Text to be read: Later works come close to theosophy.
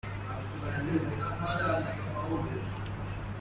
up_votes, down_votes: 0, 2